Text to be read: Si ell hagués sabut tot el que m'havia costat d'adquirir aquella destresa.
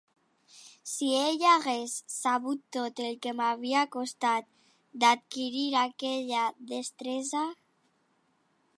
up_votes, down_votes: 3, 0